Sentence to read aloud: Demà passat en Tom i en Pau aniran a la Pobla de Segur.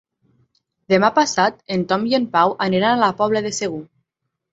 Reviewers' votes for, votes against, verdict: 9, 0, accepted